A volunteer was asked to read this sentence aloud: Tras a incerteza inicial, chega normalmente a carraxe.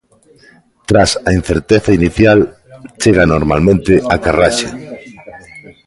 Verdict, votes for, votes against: rejected, 0, 2